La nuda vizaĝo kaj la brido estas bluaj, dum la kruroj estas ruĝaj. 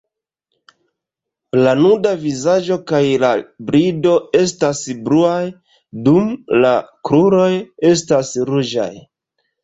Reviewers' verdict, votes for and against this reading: accepted, 2, 1